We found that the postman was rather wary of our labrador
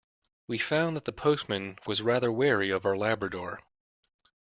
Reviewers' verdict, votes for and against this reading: accepted, 2, 0